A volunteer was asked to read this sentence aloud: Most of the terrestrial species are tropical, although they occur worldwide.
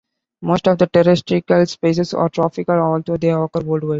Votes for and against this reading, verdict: 1, 2, rejected